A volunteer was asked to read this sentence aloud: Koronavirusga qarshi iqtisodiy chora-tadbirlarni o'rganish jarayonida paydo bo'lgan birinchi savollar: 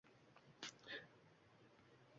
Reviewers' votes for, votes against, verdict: 1, 2, rejected